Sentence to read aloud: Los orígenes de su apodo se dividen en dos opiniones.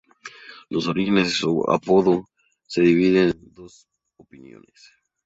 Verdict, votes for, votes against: rejected, 0, 2